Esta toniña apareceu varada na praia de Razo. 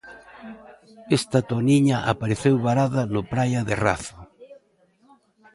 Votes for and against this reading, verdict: 1, 2, rejected